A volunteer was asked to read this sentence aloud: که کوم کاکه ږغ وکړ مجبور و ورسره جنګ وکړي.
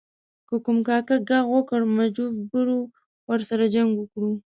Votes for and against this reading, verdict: 1, 2, rejected